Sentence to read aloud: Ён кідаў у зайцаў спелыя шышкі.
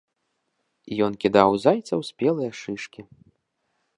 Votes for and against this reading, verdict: 1, 2, rejected